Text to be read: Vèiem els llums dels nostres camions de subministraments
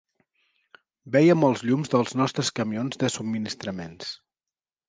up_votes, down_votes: 2, 0